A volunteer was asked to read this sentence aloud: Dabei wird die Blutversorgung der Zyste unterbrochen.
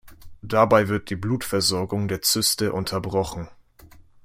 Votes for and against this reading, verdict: 2, 0, accepted